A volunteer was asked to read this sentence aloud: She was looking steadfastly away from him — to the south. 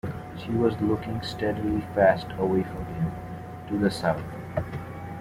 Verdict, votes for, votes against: rejected, 1, 2